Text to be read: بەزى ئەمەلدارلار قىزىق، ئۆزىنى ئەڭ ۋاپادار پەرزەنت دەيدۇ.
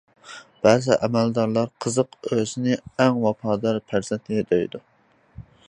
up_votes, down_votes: 0, 2